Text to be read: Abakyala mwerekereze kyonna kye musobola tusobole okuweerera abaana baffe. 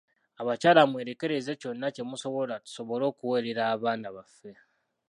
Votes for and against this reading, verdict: 2, 0, accepted